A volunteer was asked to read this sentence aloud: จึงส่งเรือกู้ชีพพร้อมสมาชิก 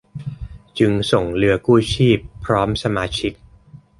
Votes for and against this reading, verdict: 2, 0, accepted